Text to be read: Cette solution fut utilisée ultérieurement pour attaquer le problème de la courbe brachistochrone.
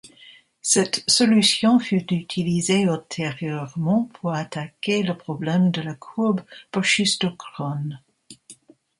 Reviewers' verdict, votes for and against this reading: rejected, 0, 2